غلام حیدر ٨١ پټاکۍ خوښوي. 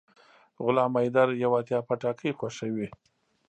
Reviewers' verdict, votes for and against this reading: rejected, 0, 2